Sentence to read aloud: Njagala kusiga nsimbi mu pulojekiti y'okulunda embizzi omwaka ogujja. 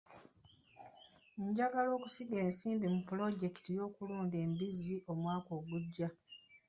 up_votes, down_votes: 1, 2